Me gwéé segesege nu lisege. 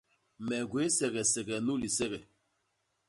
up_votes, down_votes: 2, 0